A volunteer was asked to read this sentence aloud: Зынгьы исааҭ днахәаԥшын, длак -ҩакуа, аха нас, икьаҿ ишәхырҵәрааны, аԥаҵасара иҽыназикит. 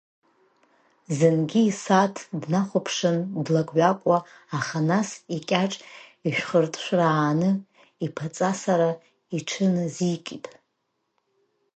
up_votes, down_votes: 1, 2